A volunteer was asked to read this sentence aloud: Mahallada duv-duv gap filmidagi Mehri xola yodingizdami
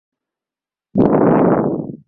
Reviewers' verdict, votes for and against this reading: rejected, 0, 2